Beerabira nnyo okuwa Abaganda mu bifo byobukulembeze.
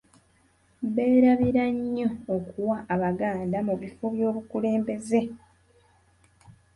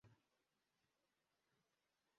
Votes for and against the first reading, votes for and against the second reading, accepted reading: 2, 0, 0, 2, first